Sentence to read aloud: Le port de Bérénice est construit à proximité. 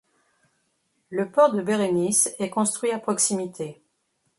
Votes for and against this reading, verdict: 2, 0, accepted